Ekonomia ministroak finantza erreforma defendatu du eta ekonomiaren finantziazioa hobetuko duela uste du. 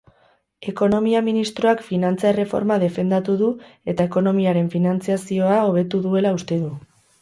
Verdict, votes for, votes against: rejected, 0, 4